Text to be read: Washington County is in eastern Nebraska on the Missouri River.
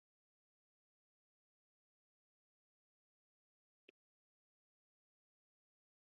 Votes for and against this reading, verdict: 0, 3, rejected